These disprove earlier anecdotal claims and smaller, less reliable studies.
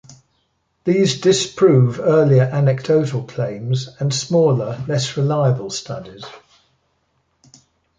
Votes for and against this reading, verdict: 2, 0, accepted